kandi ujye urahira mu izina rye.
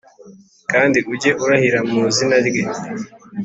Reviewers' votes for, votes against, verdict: 3, 0, accepted